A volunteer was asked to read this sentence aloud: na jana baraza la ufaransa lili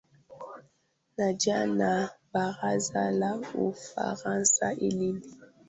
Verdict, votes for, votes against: rejected, 0, 2